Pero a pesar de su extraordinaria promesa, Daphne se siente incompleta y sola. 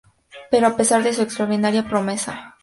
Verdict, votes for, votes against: rejected, 0, 2